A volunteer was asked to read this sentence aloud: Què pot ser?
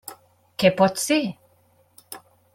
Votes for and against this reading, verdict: 3, 0, accepted